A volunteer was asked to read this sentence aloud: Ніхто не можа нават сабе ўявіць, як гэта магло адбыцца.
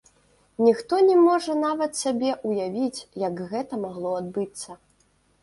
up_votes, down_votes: 2, 0